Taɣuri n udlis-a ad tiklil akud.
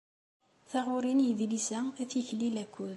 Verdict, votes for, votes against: rejected, 0, 2